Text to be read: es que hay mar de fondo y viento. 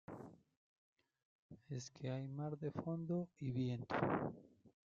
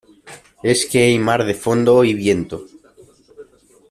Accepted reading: second